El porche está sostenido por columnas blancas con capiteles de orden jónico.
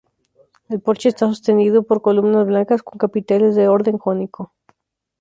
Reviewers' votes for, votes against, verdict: 2, 0, accepted